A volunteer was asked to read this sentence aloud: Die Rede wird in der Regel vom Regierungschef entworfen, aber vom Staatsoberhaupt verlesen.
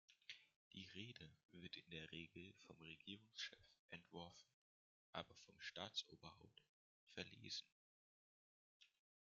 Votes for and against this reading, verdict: 2, 0, accepted